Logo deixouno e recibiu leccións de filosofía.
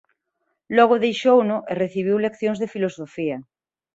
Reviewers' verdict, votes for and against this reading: accepted, 2, 0